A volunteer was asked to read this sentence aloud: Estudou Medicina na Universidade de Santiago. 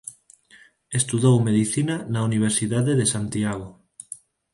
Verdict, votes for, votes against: accepted, 4, 0